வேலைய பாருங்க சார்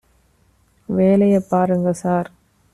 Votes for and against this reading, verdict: 2, 0, accepted